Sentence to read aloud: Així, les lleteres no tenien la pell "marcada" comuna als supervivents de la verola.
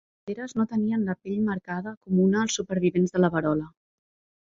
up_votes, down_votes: 0, 2